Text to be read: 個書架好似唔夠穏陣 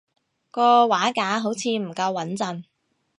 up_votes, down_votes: 1, 2